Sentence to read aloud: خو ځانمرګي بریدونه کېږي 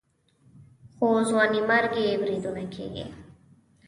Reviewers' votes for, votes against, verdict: 1, 2, rejected